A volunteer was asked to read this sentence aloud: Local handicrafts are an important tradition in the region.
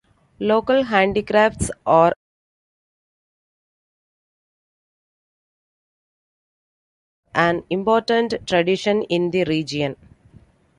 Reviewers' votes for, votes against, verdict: 0, 2, rejected